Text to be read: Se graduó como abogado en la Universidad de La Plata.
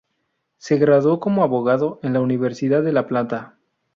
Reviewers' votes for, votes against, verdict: 2, 0, accepted